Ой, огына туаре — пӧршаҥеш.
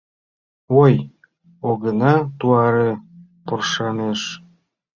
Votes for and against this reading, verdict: 0, 2, rejected